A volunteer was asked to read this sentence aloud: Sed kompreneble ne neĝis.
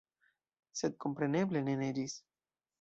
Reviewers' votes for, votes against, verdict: 2, 0, accepted